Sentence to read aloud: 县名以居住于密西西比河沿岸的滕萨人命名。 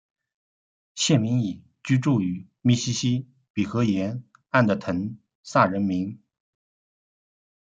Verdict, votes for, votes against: accepted, 2, 0